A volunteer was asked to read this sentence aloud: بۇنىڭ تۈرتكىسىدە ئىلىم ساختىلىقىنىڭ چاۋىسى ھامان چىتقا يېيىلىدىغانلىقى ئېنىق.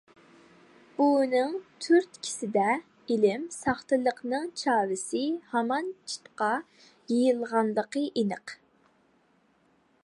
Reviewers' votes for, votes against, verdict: 0, 2, rejected